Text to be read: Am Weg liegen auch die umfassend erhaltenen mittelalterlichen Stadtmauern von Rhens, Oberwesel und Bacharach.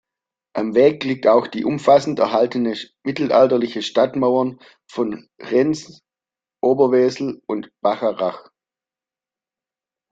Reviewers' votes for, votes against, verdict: 0, 2, rejected